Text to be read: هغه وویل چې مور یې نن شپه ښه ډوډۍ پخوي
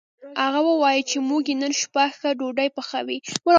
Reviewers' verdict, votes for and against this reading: rejected, 1, 2